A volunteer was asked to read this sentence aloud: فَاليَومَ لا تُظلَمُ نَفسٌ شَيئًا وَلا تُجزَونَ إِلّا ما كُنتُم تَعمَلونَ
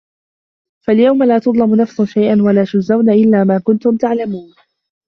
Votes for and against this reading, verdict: 1, 2, rejected